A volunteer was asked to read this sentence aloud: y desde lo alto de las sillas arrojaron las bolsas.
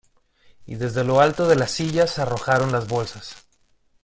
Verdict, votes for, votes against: accepted, 2, 0